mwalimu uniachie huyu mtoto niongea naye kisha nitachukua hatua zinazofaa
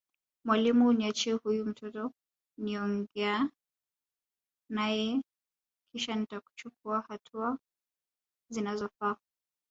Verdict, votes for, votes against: rejected, 1, 2